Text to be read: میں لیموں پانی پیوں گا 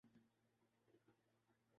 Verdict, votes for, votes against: rejected, 1, 2